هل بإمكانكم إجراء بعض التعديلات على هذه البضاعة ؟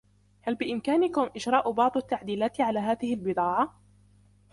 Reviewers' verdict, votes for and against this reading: accepted, 2, 0